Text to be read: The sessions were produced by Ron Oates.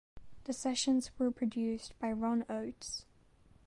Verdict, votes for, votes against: accepted, 2, 0